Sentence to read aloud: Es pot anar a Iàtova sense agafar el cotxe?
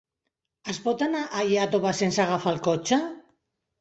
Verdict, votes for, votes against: accepted, 2, 0